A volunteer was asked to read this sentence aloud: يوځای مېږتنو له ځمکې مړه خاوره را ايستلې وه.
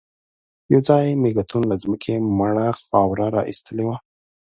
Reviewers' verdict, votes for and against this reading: rejected, 1, 2